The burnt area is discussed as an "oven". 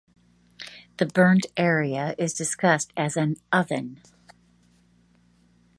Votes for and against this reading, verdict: 2, 0, accepted